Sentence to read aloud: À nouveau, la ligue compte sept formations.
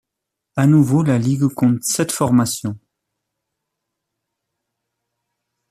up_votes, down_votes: 2, 0